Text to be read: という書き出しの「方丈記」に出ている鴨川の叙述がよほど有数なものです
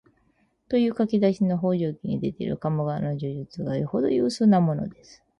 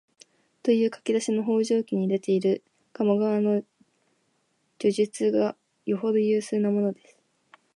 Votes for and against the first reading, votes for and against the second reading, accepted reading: 2, 2, 4, 0, second